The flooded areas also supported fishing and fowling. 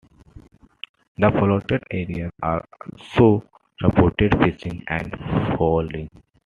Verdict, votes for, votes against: accepted, 2, 0